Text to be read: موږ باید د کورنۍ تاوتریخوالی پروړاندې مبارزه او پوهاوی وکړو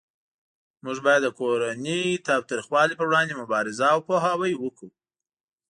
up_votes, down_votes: 2, 0